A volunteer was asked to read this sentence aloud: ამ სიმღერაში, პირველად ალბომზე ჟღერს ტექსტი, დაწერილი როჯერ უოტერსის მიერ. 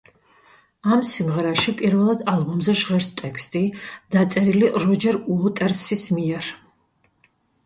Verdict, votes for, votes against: accepted, 2, 0